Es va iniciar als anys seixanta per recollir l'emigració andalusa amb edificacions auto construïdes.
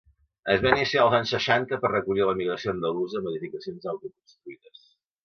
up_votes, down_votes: 0, 2